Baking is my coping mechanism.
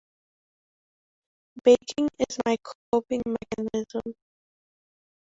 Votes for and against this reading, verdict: 2, 0, accepted